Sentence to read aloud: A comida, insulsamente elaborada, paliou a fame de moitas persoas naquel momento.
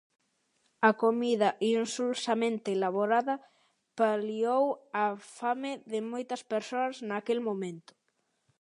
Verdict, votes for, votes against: accepted, 2, 0